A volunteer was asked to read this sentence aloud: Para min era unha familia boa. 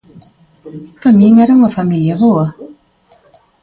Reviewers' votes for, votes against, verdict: 2, 1, accepted